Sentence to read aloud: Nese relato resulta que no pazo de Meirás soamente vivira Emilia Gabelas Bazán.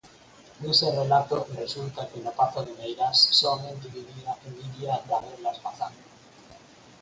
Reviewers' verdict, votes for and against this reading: rejected, 2, 4